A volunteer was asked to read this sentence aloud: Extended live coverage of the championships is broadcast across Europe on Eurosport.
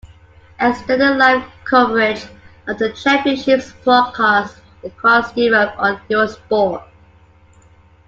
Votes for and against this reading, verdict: 0, 2, rejected